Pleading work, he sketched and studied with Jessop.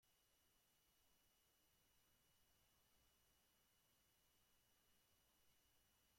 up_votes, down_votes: 0, 2